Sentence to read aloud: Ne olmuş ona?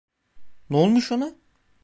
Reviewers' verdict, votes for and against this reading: accepted, 2, 0